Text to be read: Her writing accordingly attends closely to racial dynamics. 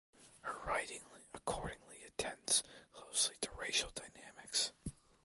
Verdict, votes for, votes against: rejected, 0, 2